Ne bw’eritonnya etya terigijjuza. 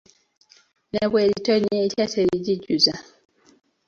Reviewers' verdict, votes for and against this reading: accepted, 2, 0